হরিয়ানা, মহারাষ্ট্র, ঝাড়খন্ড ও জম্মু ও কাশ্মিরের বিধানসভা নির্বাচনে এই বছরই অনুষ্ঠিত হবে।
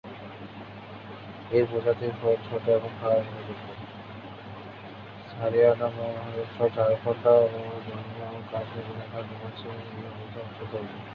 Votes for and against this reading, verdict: 0, 2, rejected